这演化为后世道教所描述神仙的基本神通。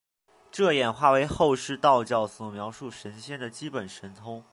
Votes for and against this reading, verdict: 7, 0, accepted